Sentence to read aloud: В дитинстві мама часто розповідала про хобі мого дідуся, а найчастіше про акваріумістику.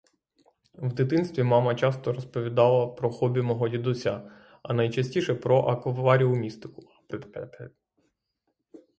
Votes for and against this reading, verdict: 0, 3, rejected